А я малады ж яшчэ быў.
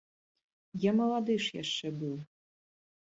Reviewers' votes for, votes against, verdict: 1, 2, rejected